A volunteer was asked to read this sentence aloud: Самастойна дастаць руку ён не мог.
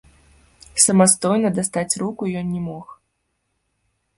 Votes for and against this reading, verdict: 0, 2, rejected